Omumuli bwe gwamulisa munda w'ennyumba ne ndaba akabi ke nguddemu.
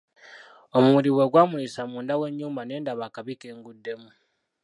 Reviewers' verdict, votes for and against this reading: rejected, 1, 2